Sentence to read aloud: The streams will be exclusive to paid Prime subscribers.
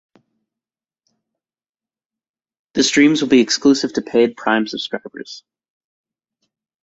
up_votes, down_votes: 1, 2